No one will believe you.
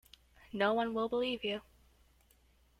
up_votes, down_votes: 2, 0